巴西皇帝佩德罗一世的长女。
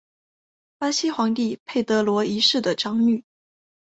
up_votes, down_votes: 5, 0